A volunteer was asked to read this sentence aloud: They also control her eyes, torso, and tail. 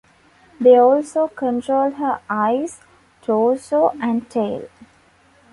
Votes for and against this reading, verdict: 2, 0, accepted